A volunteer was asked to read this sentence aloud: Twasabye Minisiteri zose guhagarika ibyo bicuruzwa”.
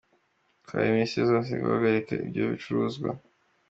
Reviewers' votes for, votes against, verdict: 2, 1, accepted